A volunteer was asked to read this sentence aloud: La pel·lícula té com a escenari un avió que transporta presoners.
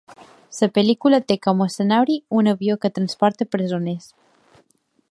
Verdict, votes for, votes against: rejected, 0, 2